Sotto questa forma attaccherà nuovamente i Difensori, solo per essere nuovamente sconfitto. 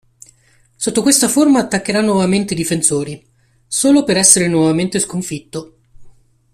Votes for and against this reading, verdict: 2, 0, accepted